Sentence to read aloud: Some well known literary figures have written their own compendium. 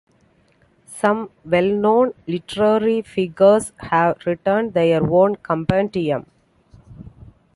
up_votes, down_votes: 2, 1